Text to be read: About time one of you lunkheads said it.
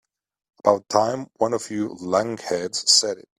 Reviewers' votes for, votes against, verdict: 0, 2, rejected